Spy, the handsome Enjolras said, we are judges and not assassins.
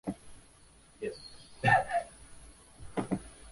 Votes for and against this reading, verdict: 0, 2, rejected